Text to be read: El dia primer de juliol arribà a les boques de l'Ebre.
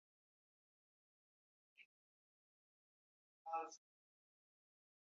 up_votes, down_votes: 0, 3